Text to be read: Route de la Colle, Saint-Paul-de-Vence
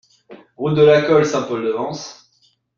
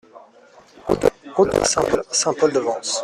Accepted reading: first